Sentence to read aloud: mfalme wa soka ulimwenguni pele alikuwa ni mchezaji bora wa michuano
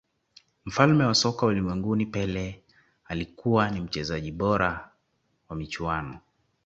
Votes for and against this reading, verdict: 2, 0, accepted